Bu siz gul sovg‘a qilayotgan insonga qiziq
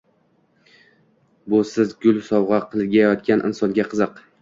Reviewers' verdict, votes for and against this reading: accepted, 2, 1